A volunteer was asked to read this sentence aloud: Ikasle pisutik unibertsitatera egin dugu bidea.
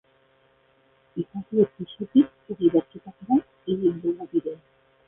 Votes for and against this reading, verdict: 0, 2, rejected